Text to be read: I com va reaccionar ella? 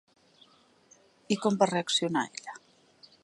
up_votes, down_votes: 1, 2